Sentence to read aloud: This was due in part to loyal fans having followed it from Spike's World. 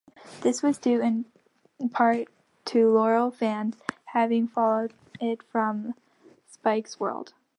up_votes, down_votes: 2, 0